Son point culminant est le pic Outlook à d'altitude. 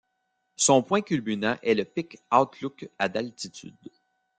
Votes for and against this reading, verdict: 0, 2, rejected